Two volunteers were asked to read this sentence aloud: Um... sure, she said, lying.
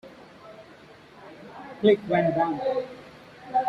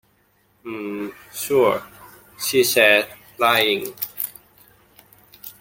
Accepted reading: second